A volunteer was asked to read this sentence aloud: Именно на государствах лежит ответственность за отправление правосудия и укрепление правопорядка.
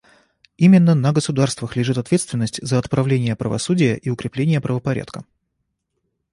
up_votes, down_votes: 2, 0